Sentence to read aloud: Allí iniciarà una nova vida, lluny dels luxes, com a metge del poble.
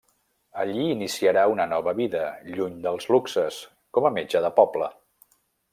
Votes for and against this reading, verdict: 1, 2, rejected